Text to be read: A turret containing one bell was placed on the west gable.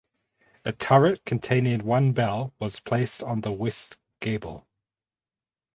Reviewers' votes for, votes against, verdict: 4, 0, accepted